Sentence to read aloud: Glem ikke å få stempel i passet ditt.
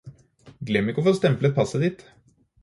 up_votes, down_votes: 0, 4